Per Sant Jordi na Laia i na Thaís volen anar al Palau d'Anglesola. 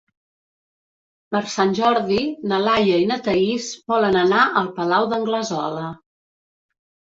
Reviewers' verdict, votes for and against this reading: accepted, 3, 0